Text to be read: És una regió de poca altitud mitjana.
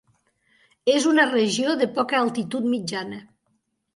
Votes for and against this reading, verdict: 4, 0, accepted